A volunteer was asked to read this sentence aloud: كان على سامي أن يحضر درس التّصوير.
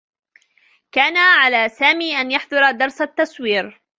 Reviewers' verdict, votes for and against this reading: accepted, 2, 1